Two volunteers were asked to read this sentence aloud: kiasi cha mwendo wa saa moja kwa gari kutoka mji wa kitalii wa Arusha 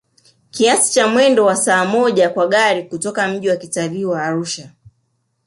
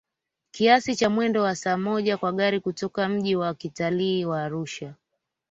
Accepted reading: second